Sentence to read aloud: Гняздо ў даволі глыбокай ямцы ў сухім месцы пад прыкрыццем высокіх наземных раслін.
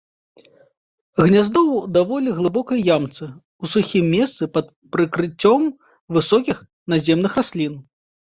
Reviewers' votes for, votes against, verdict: 1, 2, rejected